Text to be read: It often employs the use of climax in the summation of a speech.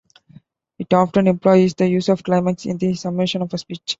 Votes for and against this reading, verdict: 2, 0, accepted